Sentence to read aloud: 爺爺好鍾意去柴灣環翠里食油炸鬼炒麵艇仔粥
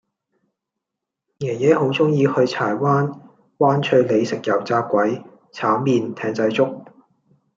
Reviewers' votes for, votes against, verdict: 1, 2, rejected